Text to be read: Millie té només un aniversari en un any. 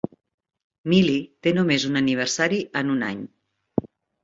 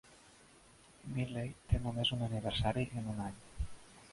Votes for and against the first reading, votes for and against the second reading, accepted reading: 3, 0, 2, 3, first